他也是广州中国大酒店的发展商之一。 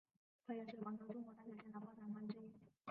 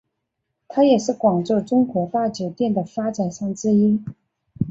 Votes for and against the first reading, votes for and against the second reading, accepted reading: 1, 3, 4, 2, second